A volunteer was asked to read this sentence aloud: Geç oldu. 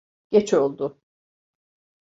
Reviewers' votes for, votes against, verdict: 2, 0, accepted